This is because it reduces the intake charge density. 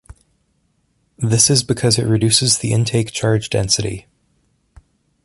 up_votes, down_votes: 2, 0